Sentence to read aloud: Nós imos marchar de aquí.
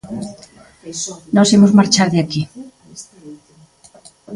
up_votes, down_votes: 1, 2